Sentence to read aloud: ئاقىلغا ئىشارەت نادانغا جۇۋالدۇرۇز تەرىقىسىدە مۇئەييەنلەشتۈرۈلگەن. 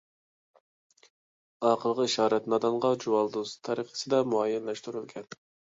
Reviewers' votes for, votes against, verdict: 3, 0, accepted